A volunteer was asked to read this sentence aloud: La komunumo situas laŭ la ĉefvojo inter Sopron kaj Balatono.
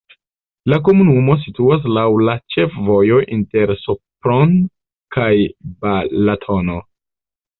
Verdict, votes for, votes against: rejected, 1, 2